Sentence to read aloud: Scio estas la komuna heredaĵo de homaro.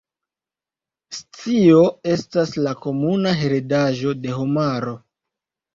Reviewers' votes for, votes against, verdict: 1, 2, rejected